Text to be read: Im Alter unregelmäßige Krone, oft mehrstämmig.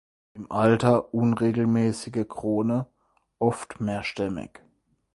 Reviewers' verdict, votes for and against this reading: rejected, 0, 4